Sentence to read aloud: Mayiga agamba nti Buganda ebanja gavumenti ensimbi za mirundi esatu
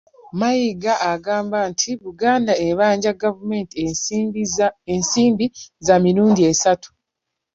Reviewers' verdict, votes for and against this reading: accepted, 2, 0